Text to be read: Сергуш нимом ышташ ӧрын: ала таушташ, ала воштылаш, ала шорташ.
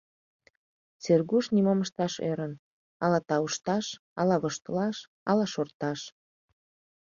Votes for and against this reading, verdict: 2, 0, accepted